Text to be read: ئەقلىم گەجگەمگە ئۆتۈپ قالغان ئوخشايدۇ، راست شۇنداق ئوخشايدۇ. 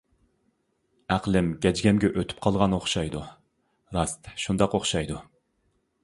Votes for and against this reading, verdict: 2, 0, accepted